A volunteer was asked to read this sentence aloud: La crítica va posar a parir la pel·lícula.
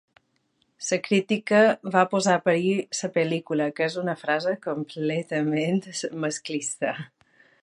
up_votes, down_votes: 1, 2